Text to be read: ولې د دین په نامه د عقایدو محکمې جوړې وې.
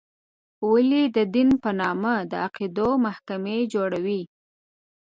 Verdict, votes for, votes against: accepted, 2, 1